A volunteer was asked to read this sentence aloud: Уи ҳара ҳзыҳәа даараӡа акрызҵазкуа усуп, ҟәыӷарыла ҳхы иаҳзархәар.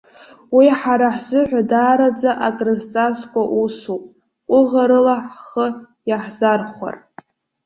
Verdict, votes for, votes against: accepted, 2, 1